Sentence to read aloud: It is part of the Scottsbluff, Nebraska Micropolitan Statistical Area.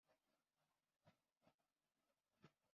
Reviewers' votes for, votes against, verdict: 0, 2, rejected